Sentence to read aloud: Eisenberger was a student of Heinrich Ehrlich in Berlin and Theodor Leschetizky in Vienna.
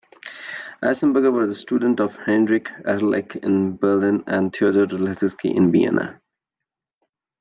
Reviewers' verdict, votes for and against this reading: rejected, 0, 2